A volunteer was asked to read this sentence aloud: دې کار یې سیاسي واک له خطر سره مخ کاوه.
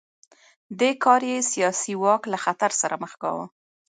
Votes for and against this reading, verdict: 2, 1, accepted